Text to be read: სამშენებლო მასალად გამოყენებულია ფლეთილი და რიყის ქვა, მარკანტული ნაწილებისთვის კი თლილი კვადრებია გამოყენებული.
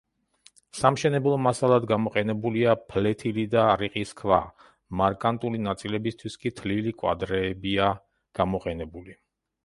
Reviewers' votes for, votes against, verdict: 0, 2, rejected